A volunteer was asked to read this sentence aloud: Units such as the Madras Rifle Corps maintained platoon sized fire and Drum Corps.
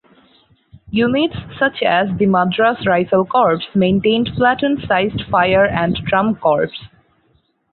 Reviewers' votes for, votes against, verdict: 2, 2, rejected